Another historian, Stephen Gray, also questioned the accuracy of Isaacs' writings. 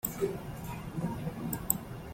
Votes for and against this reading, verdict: 0, 2, rejected